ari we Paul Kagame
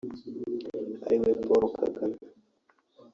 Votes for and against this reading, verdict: 0, 2, rejected